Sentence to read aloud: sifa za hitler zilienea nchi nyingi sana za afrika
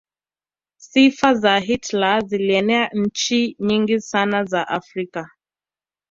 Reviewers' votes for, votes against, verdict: 2, 0, accepted